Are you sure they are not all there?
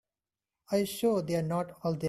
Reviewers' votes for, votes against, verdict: 1, 2, rejected